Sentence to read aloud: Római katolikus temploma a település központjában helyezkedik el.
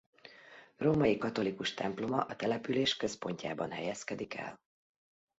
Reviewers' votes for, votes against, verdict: 2, 0, accepted